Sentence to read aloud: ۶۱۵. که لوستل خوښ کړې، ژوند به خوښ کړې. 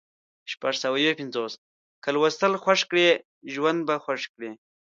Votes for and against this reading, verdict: 0, 2, rejected